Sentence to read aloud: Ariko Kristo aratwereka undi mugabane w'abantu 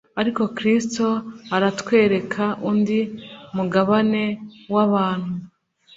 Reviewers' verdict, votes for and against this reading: accepted, 2, 0